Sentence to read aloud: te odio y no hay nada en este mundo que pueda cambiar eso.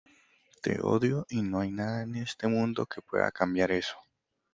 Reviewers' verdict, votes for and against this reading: accepted, 2, 0